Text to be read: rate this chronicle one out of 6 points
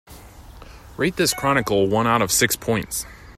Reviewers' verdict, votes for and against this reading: rejected, 0, 2